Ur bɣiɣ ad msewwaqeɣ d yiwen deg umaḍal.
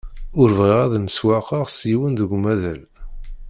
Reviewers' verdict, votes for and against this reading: rejected, 0, 2